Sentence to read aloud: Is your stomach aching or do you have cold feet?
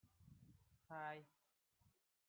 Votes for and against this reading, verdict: 0, 2, rejected